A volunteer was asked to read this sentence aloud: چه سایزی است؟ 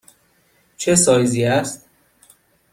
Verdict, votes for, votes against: accepted, 2, 0